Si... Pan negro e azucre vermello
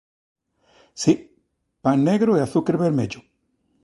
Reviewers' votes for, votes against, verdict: 2, 0, accepted